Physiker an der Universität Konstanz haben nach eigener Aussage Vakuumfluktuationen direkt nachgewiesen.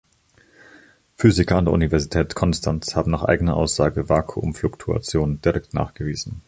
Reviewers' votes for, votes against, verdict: 2, 0, accepted